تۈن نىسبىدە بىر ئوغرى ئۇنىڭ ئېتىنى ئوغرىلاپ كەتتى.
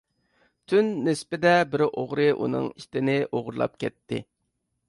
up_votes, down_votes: 0, 2